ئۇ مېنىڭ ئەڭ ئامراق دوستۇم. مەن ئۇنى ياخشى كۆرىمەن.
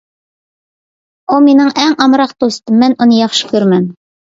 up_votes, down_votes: 2, 0